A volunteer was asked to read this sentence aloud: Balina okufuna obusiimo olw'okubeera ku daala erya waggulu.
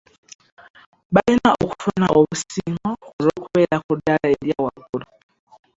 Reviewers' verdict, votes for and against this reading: rejected, 0, 2